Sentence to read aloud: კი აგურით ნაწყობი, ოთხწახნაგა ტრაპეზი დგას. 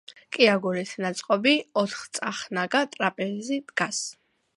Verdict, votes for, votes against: rejected, 0, 2